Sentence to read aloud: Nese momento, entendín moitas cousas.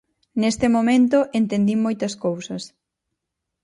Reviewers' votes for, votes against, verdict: 0, 4, rejected